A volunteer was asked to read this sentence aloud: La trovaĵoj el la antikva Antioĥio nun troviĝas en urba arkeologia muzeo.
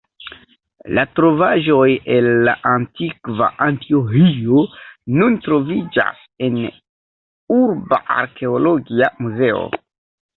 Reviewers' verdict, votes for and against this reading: rejected, 0, 2